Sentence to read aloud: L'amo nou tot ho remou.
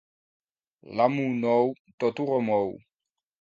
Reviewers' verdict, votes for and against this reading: accepted, 2, 1